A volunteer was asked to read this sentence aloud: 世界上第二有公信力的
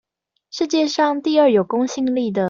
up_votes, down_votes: 2, 0